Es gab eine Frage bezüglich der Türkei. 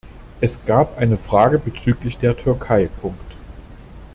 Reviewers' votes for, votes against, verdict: 0, 2, rejected